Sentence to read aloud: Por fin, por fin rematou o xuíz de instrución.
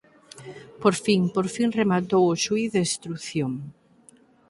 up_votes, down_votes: 4, 2